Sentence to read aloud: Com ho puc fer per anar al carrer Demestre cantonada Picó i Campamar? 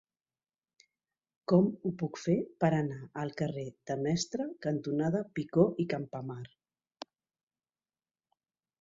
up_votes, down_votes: 2, 1